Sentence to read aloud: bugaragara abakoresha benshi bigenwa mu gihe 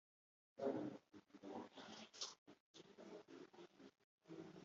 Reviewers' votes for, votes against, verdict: 1, 2, rejected